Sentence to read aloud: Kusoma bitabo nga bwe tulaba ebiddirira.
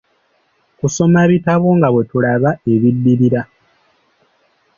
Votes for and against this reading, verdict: 2, 0, accepted